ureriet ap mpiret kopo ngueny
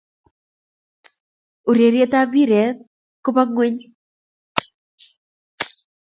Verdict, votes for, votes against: accepted, 2, 0